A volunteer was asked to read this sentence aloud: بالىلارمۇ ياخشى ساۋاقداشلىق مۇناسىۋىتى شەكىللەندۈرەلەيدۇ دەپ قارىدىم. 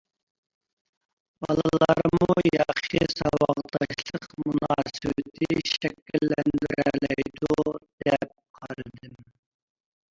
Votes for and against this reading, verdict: 1, 2, rejected